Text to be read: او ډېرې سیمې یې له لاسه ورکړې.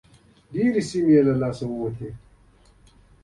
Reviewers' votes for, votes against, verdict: 2, 0, accepted